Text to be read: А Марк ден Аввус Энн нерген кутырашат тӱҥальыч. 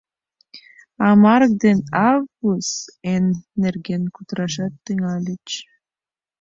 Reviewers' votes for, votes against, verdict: 2, 3, rejected